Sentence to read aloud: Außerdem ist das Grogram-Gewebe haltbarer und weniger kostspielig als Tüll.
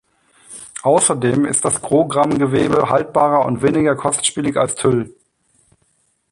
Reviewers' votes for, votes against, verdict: 2, 0, accepted